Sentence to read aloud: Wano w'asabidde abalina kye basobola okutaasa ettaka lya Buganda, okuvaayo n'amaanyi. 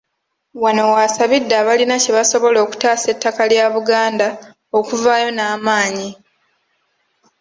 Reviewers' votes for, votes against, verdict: 2, 0, accepted